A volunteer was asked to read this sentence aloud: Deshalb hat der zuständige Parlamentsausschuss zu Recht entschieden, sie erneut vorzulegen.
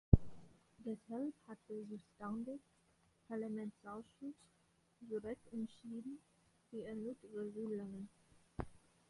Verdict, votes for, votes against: rejected, 0, 2